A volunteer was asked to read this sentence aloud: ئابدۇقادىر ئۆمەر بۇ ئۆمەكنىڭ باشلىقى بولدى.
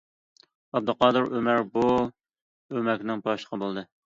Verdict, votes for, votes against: accepted, 2, 0